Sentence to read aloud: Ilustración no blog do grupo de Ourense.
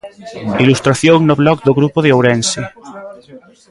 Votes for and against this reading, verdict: 1, 2, rejected